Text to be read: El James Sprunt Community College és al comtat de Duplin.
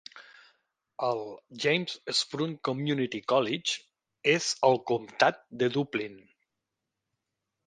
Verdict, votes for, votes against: accepted, 2, 0